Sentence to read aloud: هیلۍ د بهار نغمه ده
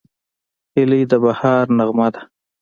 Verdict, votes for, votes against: accepted, 2, 0